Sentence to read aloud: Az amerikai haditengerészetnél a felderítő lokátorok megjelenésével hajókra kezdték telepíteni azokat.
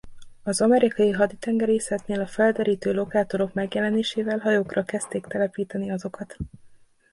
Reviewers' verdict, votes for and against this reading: accepted, 2, 0